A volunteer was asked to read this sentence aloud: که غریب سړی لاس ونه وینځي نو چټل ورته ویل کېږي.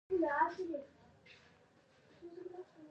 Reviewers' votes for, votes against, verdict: 2, 3, rejected